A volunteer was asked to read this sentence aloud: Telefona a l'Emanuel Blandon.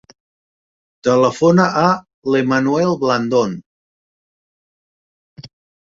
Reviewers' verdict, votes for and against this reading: accepted, 3, 0